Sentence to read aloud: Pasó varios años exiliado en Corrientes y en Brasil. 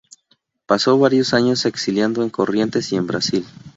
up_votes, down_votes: 0, 2